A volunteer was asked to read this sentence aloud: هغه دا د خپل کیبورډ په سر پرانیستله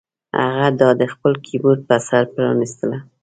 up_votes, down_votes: 2, 0